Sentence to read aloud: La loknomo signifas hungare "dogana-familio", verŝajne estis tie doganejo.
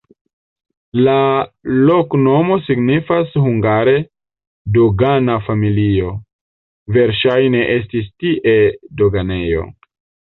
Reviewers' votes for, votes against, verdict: 1, 2, rejected